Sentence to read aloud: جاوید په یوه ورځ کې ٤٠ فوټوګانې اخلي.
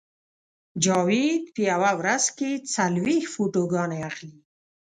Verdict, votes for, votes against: rejected, 0, 2